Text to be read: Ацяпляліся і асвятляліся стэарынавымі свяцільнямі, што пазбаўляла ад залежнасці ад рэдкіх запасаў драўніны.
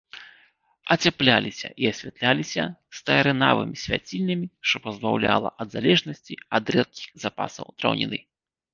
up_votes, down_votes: 1, 2